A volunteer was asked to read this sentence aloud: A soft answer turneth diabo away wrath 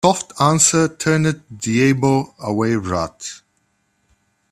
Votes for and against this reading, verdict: 0, 2, rejected